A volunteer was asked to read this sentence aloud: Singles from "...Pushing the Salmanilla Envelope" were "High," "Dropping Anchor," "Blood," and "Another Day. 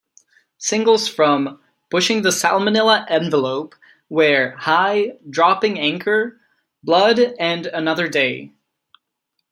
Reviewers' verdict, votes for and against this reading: rejected, 1, 2